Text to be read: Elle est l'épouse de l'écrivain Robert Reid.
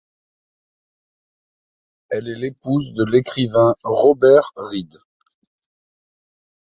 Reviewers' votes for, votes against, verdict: 2, 0, accepted